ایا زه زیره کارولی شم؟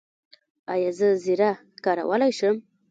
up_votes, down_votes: 0, 2